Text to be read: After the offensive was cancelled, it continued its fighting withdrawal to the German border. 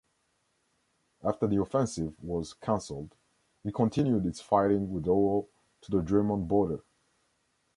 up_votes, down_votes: 2, 0